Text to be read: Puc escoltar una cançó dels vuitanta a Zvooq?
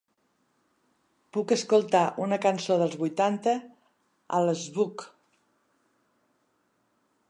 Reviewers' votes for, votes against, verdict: 1, 2, rejected